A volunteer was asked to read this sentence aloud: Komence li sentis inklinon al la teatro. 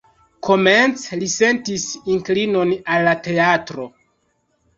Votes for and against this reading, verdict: 1, 2, rejected